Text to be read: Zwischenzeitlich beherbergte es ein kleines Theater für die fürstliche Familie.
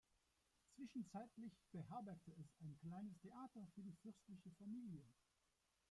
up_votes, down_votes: 0, 2